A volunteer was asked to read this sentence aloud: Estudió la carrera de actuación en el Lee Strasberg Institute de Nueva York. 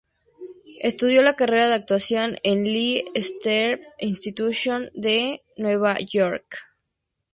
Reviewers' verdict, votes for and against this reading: accepted, 2, 0